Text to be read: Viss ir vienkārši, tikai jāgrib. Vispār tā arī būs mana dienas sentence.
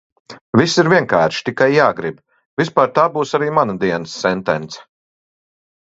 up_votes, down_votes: 0, 2